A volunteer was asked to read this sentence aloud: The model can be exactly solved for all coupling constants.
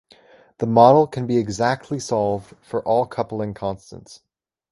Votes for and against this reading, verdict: 2, 0, accepted